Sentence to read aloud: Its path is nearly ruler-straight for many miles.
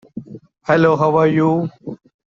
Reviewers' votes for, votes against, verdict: 0, 2, rejected